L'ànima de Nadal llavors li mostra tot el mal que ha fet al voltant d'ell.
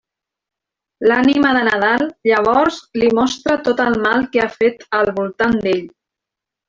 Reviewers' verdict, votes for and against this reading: accepted, 3, 0